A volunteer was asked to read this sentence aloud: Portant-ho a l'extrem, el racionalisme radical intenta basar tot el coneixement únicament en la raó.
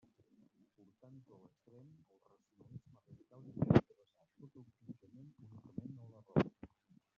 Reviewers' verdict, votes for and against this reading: rejected, 0, 2